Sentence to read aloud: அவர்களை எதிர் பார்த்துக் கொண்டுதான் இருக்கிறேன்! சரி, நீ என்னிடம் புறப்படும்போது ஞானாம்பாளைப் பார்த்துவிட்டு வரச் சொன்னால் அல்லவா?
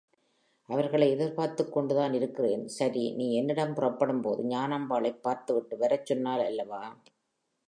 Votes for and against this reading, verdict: 4, 0, accepted